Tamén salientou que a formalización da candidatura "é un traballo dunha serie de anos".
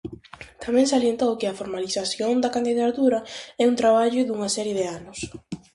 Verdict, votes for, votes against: accepted, 4, 0